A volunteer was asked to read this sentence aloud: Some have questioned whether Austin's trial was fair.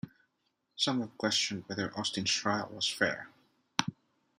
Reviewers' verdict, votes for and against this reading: accepted, 2, 0